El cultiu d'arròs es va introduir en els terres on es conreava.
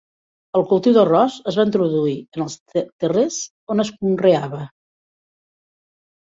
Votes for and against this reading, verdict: 1, 2, rejected